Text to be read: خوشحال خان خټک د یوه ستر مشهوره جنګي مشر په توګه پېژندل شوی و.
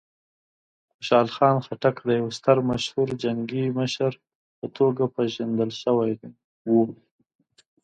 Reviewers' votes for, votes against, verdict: 1, 2, rejected